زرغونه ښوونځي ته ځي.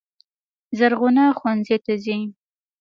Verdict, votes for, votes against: accepted, 2, 0